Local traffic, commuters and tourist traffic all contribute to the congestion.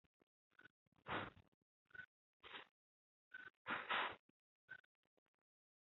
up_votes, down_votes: 1, 2